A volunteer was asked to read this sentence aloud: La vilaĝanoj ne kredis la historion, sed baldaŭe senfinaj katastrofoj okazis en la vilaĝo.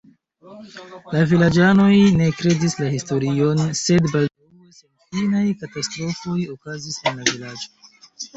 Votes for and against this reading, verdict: 1, 2, rejected